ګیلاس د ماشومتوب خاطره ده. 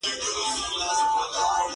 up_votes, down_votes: 1, 2